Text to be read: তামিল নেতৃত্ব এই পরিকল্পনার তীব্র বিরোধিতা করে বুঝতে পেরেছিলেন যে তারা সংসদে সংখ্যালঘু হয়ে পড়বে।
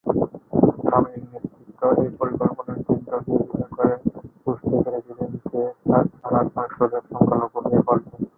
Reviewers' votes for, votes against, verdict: 1, 11, rejected